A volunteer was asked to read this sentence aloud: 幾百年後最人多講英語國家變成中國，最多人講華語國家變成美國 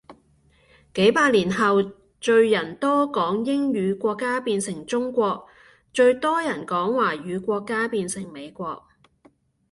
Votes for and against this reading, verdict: 2, 0, accepted